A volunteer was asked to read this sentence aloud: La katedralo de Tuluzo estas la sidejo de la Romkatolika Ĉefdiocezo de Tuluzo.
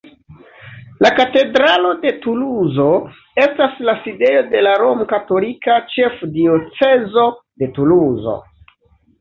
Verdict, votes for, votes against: accepted, 2, 1